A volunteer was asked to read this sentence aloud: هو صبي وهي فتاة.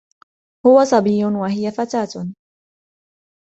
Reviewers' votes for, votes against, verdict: 2, 0, accepted